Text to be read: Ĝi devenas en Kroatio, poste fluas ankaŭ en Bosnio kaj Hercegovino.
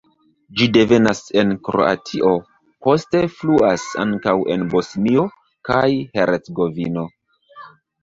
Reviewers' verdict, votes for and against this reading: accepted, 2, 1